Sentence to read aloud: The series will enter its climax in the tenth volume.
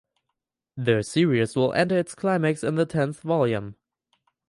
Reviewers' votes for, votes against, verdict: 4, 0, accepted